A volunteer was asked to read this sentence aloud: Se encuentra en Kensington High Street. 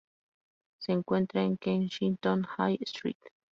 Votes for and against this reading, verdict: 4, 0, accepted